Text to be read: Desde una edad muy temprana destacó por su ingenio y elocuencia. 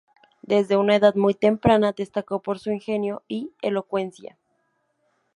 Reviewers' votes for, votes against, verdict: 0, 2, rejected